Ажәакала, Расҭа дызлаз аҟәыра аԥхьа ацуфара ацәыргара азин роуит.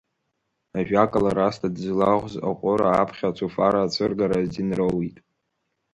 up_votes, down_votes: 1, 2